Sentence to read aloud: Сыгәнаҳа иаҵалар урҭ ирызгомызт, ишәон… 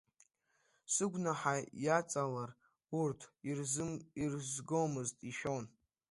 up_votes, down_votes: 2, 1